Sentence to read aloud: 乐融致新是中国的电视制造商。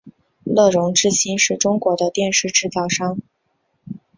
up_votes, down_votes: 2, 0